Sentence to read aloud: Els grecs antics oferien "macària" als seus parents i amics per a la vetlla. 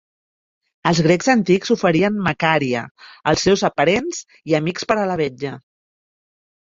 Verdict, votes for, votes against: rejected, 1, 2